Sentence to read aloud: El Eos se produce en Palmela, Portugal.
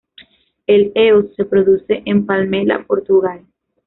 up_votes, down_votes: 2, 0